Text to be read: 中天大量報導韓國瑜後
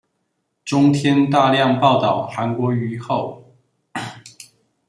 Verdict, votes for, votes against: accepted, 2, 0